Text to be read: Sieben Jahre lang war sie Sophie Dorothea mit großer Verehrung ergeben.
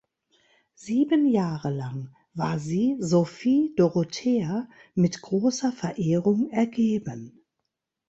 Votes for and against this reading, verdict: 2, 0, accepted